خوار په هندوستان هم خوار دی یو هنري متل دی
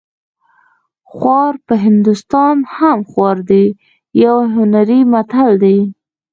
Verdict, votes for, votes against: accepted, 2, 0